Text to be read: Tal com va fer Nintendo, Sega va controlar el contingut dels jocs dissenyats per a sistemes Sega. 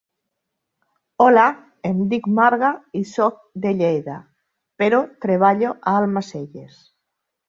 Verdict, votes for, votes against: rejected, 0, 2